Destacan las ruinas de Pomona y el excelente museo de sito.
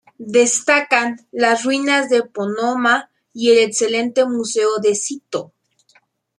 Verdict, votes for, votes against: rejected, 0, 2